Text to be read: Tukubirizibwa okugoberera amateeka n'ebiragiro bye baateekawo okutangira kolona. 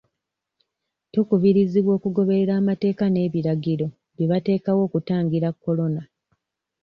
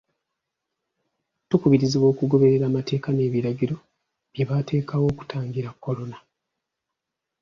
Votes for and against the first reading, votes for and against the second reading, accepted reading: 1, 2, 2, 0, second